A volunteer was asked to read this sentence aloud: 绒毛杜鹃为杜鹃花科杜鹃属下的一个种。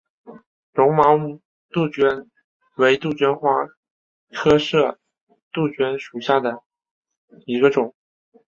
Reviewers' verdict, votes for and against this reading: rejected, 0, 2